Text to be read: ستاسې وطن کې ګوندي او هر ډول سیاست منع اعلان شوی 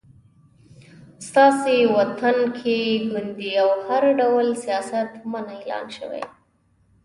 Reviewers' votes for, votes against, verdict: 2, 0, accepted